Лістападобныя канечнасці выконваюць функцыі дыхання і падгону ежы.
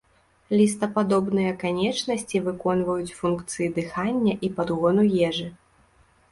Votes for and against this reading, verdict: 2, 0, accepted